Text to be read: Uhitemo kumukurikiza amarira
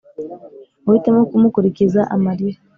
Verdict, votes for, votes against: accepted, 3, 0